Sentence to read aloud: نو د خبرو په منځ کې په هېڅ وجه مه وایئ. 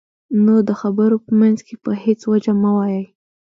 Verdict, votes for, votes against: accepted, 2, 0